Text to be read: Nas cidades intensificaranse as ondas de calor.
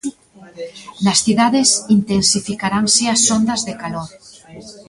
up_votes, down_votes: 2, 1